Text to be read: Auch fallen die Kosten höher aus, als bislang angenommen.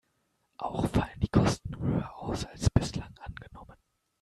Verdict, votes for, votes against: accepted, 2, 0